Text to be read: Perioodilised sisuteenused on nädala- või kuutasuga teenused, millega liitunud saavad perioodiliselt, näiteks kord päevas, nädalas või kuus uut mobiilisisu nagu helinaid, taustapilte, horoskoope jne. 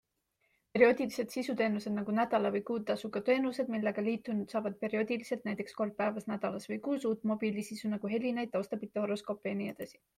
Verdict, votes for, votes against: accepted, 2, 0